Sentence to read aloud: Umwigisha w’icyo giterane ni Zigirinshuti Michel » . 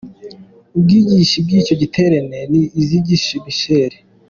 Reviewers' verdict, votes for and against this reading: rejected, 0, 2